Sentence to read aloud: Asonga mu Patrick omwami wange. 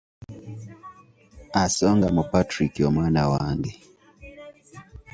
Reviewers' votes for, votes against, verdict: 0, 2, rejected